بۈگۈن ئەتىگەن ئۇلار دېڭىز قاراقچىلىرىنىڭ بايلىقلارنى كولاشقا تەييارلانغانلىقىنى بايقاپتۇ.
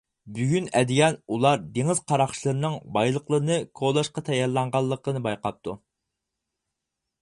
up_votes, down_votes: 2, 4